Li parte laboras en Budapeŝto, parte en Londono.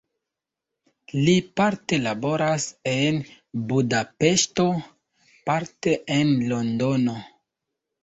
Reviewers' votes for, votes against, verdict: 2, 1, accepted